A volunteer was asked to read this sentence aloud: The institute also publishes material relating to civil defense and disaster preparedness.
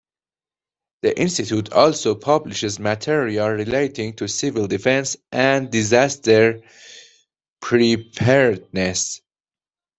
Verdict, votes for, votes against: accepted, 2, 0